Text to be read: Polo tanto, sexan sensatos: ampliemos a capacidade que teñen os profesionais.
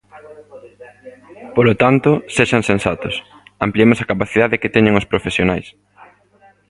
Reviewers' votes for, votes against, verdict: 1, 2, rejected